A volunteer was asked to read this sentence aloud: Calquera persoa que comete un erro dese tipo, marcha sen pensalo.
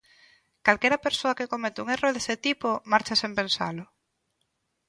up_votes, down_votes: 2, 0